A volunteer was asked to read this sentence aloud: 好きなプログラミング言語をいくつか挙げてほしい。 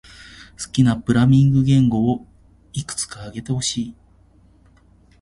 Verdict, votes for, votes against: rejected, 0, 2